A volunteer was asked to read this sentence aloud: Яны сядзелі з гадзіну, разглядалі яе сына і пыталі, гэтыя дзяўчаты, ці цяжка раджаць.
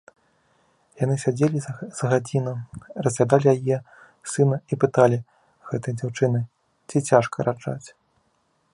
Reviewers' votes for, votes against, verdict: 1, 2, rejected